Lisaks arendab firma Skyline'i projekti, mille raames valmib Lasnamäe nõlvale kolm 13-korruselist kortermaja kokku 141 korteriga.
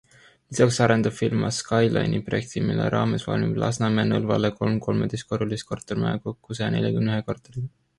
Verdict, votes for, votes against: rejected, 0, 2